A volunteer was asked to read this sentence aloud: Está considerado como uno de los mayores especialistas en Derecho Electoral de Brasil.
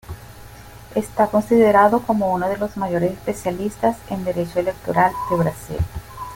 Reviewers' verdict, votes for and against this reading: accepted, 2, 0